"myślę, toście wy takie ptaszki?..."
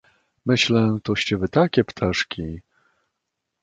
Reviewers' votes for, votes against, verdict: 2, 0, accepted